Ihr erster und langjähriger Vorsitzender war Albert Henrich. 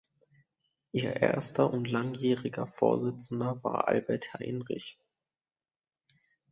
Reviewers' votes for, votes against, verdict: 0, 2, rejected